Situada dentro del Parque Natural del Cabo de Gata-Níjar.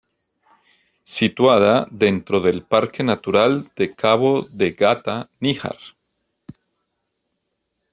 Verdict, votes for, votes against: rejected, 1, 2